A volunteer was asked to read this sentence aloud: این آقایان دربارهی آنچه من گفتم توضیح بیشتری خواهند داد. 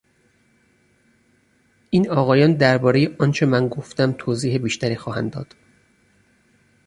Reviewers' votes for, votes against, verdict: 4, 0, accepted